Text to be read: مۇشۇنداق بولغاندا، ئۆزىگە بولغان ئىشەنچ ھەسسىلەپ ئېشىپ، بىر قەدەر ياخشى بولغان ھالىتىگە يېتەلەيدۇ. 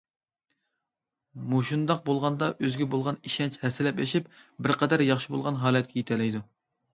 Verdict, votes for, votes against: rejected, 0, 2